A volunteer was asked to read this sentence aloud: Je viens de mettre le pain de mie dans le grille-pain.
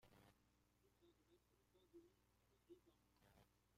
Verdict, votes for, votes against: rejected, 0, 2